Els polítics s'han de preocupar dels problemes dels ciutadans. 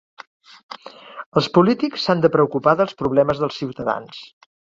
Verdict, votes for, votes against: accepted, 3, 0